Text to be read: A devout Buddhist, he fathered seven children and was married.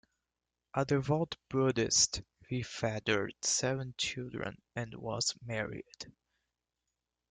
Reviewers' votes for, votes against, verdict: 1, 2, rejected